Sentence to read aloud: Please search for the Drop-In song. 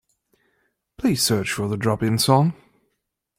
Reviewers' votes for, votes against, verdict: 2, 0, accepted